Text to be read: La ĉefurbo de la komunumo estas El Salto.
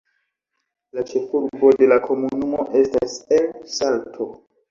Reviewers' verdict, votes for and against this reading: accepted, 2, 0